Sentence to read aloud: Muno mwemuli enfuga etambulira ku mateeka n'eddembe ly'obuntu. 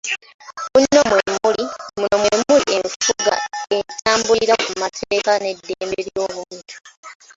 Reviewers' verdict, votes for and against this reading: rejected, 0, 2